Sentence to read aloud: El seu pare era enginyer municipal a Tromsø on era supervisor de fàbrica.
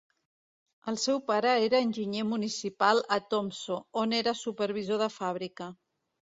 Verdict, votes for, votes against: rejected, 1, 2